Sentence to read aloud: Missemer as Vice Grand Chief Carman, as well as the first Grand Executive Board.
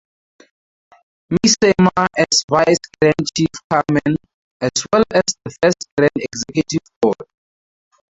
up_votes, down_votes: 2, 0